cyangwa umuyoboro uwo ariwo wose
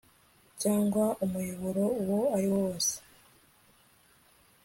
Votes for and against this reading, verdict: 3, 0, accepted